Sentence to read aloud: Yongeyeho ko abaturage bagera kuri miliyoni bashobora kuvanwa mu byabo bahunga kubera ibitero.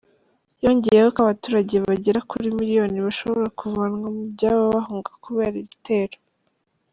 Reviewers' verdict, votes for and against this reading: accepted, 2, 0